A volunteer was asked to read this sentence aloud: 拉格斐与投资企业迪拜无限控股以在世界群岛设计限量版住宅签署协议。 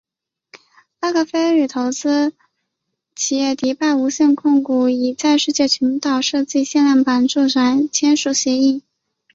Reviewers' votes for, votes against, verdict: 5, 2, accepted